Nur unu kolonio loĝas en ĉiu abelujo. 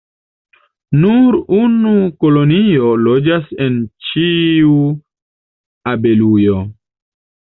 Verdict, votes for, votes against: accepted, 2, 0